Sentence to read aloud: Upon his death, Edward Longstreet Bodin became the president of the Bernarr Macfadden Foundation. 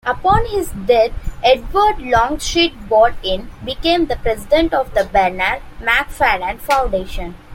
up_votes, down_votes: 0, 2